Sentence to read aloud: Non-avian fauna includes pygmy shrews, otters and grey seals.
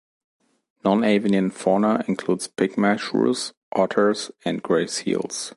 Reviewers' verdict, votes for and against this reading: rejected, 1, 2